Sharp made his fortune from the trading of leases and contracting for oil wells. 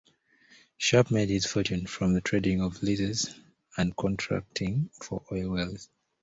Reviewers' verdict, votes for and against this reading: accepted, 2, 0